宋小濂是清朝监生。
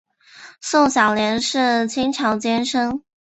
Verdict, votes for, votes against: accepted, 2, 0